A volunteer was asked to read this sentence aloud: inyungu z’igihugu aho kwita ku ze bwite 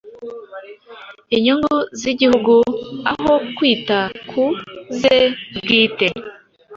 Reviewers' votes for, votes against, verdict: 2, 0, accepted